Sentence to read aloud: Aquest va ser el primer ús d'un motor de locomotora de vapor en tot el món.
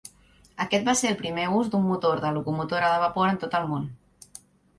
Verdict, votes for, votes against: rejected, 0, 2